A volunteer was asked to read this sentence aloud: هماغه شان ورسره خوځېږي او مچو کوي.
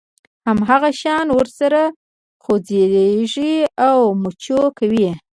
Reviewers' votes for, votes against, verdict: 1, 2, rejected